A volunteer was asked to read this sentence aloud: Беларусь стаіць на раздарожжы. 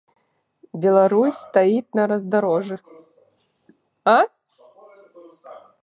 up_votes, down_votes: 0, 2